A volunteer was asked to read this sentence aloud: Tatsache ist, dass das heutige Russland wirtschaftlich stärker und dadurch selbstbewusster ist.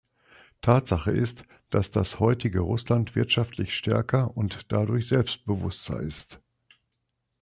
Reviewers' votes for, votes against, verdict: 2, 0, accepted